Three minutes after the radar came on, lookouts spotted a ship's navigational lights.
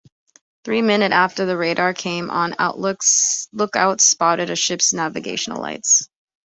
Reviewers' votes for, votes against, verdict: 0, 3, rejected